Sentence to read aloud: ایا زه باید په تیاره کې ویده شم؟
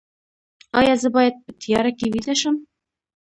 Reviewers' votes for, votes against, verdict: 2, 0, accepted